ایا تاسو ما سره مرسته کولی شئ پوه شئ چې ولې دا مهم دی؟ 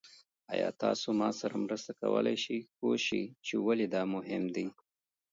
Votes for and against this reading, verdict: 2, 1, accepted